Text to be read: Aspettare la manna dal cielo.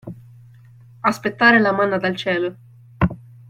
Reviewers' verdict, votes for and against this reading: accepted, 2, 0